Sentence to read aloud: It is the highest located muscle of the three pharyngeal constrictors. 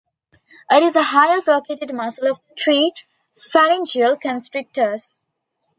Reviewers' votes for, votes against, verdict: 2, 0, accepted